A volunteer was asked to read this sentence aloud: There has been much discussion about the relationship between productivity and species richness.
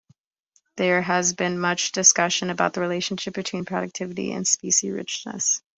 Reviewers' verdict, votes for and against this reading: rejected, 1, 2